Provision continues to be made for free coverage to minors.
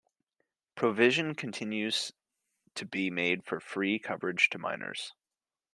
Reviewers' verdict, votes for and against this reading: accepted, 2, 1